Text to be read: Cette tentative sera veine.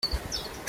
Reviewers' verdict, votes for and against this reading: rejected, 1, 2